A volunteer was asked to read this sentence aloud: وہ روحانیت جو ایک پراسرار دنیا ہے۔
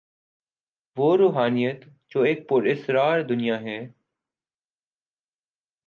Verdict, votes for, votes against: rejected, 0, 2